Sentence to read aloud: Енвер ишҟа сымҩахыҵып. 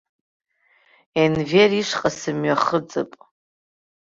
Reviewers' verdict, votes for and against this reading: accepted, 2, 0